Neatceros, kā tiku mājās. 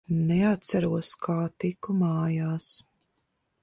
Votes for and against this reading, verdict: 2, 0, accepted